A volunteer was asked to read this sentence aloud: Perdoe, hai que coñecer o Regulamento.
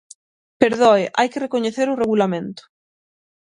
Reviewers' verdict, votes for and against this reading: rejected, 3, 6